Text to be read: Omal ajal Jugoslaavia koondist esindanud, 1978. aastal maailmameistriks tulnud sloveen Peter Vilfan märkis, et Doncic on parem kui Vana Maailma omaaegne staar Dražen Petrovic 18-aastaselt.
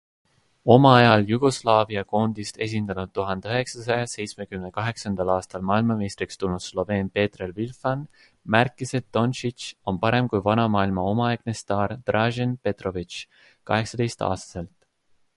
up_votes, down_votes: 0, 2